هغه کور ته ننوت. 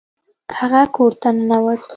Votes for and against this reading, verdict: 2, 0, accepted